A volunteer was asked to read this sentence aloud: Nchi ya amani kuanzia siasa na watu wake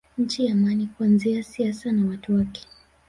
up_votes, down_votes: 4, 0